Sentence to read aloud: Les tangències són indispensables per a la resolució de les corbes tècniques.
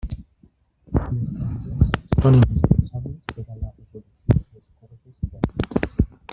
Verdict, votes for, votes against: rejected, 0, 2